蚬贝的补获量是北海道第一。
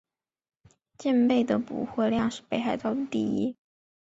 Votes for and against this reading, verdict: 5, 0, accepted